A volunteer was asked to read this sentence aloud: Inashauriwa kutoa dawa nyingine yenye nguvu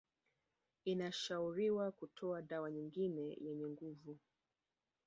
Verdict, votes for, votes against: rejected, 2, 3